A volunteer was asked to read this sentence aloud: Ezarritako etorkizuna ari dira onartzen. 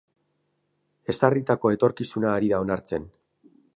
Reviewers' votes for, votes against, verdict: 0, 2, rejected